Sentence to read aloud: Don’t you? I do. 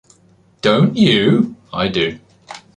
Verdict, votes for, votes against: accepted, 2, 1